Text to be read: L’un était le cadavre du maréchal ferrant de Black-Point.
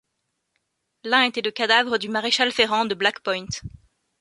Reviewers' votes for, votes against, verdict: 2, 0, accepted